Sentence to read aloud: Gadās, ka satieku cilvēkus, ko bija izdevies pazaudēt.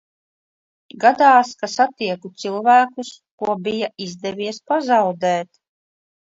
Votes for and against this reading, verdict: 2, 0, accepted